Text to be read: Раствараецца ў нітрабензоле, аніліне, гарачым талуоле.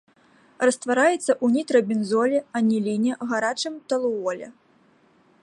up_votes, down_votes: 2, 0